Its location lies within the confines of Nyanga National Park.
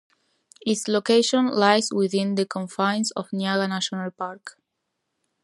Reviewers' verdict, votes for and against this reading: accepted, 2, 0